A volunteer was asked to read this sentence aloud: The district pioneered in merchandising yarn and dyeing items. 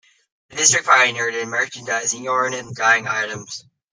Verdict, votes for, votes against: rejected, 0, 2